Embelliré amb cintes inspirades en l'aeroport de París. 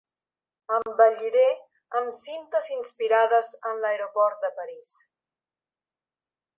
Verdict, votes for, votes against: accepted, 2, 0